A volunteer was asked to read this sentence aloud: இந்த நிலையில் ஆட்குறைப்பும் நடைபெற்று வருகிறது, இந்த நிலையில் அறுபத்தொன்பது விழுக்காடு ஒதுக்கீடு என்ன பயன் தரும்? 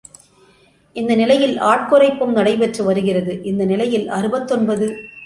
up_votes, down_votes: 0, 2